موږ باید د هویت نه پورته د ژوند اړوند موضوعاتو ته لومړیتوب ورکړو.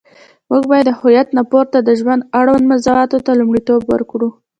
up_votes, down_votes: 1, 2